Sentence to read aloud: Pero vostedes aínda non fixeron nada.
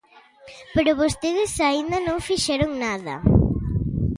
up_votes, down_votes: 2, 0